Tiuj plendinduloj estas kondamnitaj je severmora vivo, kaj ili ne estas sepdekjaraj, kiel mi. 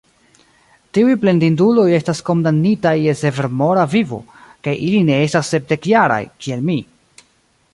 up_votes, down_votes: 1, 2